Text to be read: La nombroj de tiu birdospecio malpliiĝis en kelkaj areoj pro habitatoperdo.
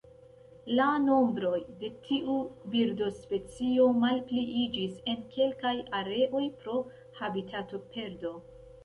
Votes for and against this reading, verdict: 0, 2, rejected